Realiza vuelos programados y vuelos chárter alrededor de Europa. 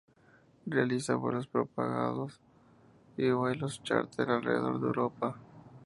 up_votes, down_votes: 2, 0